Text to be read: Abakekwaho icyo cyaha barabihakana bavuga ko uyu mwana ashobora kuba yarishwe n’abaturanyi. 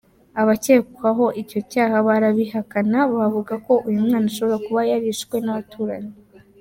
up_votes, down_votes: 2, 1